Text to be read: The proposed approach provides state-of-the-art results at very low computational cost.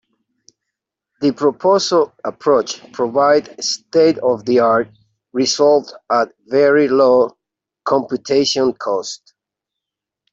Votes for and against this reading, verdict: 1, 2, rejected